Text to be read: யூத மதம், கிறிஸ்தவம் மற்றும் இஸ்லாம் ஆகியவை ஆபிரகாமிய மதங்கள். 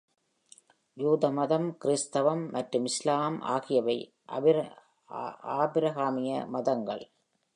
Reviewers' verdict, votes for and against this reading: rejected, 0, 2